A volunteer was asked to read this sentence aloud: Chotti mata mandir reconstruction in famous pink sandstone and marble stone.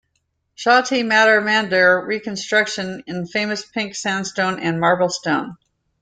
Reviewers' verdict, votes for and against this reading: accepted, 2, 1